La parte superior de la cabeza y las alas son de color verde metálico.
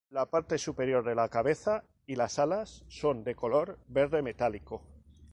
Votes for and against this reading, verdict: 2, 0, accepted